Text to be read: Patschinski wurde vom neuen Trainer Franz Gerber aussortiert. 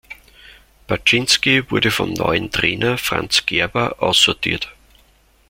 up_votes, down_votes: 2, 0